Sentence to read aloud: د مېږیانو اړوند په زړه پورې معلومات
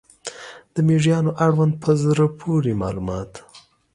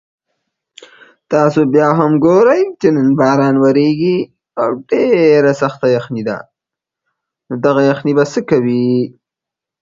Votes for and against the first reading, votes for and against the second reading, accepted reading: 2, 0, 0, 2, first